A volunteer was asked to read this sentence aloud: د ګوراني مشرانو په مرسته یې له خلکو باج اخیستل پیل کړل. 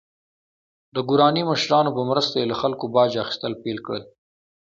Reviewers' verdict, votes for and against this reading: accepted, 2, 1